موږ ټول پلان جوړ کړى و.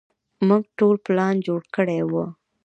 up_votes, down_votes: 2, 0